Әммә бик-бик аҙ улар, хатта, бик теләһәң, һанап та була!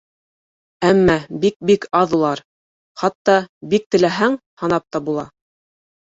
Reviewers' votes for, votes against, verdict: 2, 0, accepted